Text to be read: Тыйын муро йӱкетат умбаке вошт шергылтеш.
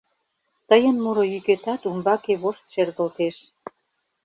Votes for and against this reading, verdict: 2, 0, accepted